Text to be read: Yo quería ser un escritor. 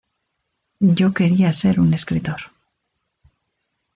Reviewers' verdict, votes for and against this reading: rejected, 1, 2